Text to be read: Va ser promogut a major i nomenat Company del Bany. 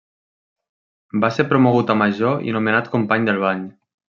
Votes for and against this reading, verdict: 3, 0, accepted